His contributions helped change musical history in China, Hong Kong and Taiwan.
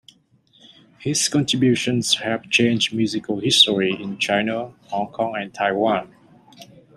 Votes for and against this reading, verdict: 2, 0, accepted